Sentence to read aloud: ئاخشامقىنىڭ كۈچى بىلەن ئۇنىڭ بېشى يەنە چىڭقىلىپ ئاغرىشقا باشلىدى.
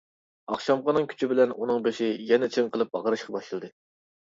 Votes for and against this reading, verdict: 2, 0, accepted